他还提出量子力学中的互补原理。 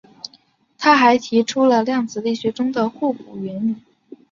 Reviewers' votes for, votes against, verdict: 5, 0, accepted